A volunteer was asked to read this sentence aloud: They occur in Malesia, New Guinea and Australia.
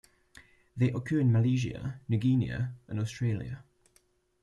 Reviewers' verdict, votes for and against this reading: rejected, 0, 2